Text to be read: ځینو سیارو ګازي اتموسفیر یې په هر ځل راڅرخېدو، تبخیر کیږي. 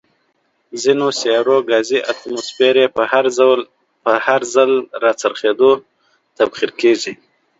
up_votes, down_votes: 2, 1